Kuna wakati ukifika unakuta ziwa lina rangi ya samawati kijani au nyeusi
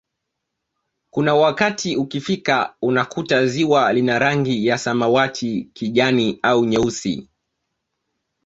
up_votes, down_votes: 2, 0